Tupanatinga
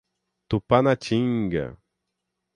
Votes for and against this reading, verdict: 6, 0, accepted